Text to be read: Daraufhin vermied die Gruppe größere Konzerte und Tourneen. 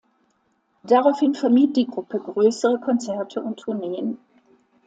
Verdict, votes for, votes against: accepted, 2, 0